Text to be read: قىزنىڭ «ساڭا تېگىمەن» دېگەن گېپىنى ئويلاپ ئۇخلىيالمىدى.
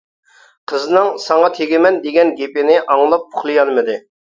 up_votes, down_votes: 0, 2